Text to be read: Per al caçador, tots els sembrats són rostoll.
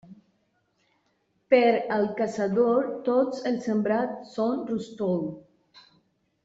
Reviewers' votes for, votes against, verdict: 1, 2, rejected